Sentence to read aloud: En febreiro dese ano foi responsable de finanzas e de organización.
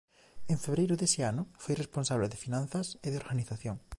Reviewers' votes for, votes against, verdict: 3, 0, accepted